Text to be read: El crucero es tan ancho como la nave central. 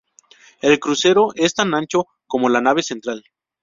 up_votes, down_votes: 0, 4